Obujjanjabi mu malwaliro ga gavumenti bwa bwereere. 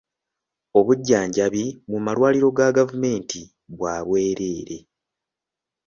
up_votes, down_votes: 2, 0